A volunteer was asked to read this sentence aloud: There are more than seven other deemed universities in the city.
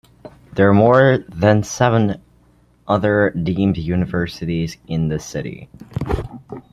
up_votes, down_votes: 2, 1